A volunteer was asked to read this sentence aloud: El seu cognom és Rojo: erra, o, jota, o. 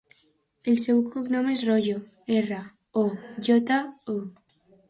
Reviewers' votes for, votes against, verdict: 0, 2, rejected